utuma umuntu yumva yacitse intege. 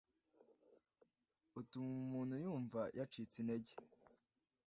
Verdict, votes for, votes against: accepted, 2, 0